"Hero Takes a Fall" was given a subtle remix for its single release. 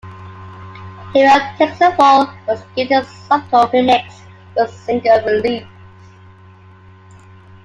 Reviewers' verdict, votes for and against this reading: accepted, 2, 0